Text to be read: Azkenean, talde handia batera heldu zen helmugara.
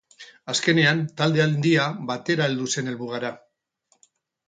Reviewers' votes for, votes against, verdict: 6, 0, accepted